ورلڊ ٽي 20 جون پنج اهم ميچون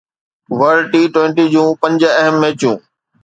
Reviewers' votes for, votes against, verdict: 0, 2, rejected